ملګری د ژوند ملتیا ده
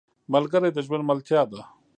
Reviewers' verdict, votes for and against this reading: rejected, 1, 2